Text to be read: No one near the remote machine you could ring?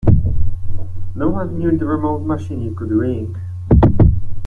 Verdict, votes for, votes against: rejected, 0, 2